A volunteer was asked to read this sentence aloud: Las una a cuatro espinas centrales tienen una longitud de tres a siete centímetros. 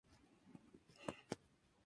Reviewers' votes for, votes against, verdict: 0, 2, rejected